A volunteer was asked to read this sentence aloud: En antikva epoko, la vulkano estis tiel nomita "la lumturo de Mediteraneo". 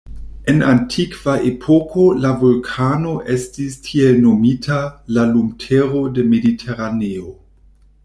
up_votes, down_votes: 1, 2